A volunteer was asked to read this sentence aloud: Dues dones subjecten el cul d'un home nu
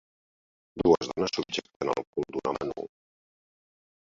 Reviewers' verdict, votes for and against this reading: accepted, 2, 1